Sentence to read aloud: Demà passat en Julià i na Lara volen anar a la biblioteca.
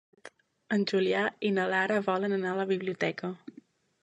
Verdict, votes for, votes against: rejected, 1, 3